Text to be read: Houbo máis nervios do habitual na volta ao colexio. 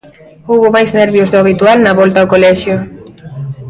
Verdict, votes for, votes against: accepted, 2, 0